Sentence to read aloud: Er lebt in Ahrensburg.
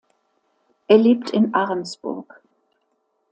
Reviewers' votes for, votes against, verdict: 2, 0, accepted